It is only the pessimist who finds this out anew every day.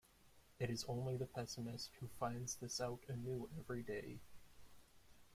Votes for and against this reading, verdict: 2, 1, accepted